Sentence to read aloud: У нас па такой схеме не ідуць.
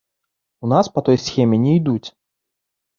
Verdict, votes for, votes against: rejected, 0, 2